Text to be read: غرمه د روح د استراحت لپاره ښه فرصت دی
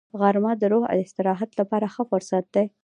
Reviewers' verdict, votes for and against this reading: accepted, 2, 0